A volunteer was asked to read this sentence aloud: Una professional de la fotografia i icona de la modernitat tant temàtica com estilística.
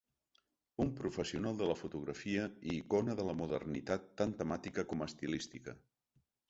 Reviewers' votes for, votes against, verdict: 1, 3, rejected